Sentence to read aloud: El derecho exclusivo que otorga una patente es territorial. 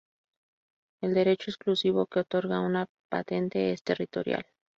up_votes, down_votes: 0, 2